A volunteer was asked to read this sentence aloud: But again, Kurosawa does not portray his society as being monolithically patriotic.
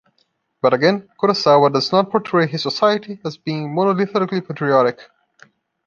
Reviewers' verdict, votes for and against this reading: accepted, 2, 0